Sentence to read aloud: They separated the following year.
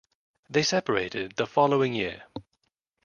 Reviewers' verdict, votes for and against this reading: accepted, 2, 0